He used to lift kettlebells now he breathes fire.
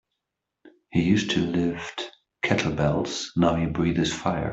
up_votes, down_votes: 2, 1